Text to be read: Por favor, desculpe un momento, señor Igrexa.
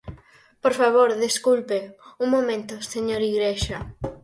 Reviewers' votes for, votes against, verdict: 6, 0, accepted